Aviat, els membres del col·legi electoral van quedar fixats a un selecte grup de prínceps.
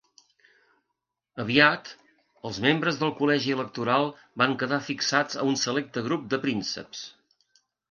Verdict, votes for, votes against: accepted, 2, 0